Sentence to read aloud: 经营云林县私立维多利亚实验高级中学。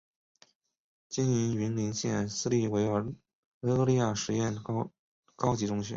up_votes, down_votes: 4, 2